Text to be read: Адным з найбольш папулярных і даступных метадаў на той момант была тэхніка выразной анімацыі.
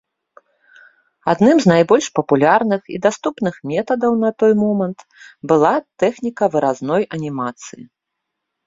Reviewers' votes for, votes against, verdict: 2, 0, accepted